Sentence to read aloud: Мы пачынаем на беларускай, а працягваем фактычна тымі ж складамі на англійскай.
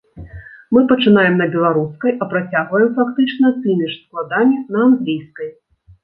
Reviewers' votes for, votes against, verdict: 1, 2, rejected